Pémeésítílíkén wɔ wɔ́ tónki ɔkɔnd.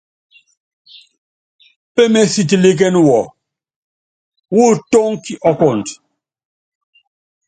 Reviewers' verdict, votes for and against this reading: accepted, 2, 0